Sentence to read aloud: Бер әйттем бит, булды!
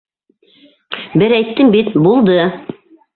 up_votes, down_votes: 2, 0